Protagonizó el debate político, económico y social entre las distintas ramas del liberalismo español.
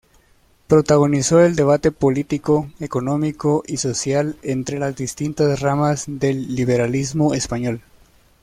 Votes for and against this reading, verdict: 2, 0, accepted